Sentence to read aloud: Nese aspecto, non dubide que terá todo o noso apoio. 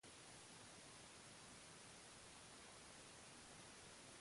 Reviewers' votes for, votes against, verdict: 0, 2, rejected